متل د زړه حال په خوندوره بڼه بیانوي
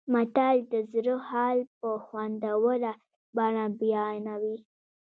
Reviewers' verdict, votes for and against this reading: accepted, 2, 1